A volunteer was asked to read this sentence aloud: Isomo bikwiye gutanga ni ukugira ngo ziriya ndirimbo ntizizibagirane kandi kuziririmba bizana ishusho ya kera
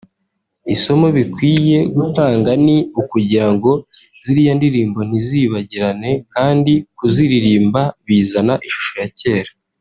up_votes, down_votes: 2, 0